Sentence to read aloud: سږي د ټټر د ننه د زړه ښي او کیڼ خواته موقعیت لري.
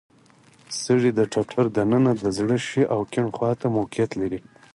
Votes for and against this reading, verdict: 4, 0, accepted